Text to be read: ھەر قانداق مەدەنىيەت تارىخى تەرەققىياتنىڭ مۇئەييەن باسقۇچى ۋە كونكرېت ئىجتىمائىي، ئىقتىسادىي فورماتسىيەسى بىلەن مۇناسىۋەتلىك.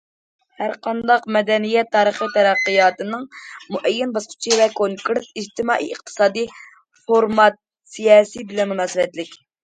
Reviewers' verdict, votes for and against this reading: rejected, 1, 2